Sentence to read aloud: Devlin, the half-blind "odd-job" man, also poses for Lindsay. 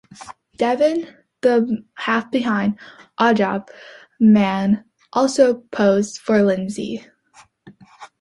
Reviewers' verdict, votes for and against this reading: rejected, 0, 2